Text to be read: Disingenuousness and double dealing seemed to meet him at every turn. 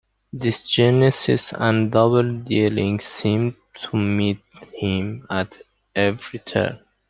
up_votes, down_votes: 1, 2